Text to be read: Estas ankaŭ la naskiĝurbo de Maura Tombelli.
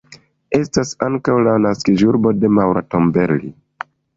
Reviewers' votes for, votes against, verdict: 2, 1, accepted